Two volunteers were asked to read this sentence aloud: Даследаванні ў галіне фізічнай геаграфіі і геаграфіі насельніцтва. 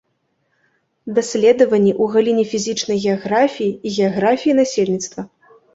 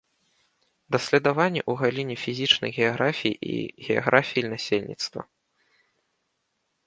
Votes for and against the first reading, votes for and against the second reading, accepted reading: 2, 0, 1, 2, first